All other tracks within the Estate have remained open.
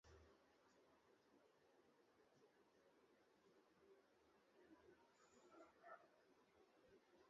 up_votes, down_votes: 0, 2